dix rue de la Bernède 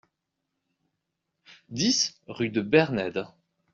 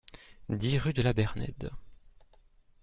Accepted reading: second